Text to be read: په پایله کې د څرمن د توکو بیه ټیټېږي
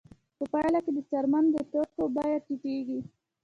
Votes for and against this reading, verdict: 1, 2, rejected